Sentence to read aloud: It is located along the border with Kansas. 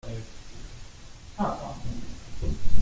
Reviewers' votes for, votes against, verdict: 0, 2, rejected